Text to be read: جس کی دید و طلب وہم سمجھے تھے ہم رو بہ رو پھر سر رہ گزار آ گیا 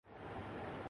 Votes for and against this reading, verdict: 2, 6, rejected